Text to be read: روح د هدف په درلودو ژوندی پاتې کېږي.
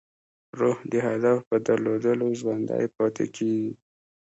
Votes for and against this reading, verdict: 2, 0, accepted